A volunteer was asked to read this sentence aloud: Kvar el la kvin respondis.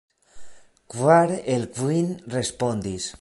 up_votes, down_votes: 1, 2